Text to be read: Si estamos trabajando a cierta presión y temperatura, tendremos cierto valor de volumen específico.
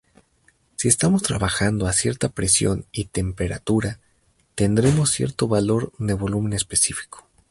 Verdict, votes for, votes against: accepted, 2, 0